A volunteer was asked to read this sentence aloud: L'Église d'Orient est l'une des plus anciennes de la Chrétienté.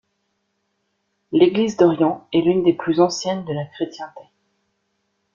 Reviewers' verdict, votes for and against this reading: rejected, 1, 2